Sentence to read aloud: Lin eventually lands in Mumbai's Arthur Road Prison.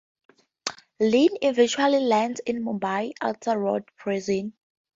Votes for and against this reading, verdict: 2, 2, rejected